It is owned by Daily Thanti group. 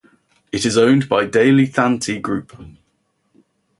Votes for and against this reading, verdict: 0, 2, rejected